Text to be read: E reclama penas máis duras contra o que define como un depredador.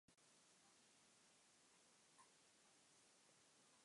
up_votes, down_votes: 0, 4